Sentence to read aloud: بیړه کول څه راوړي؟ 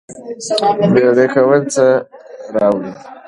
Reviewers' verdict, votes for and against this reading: accepted, 3, 1